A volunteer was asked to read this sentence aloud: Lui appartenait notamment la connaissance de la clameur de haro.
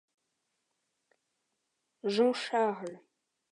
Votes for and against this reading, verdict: 0, 2, rejected